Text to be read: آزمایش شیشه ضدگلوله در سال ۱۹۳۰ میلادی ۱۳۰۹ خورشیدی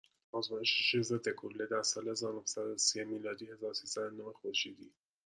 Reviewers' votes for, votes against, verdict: 0, 2, rejected